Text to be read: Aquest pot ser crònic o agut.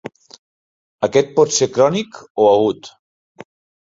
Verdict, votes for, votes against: accepted, 2, 0